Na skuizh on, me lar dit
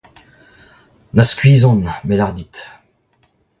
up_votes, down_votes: 0, 2